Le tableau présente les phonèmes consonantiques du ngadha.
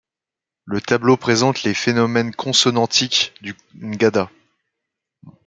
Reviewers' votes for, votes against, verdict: 1, 2, rejected